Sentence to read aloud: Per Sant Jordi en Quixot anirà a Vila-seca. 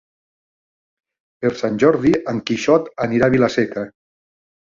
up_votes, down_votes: 4, 0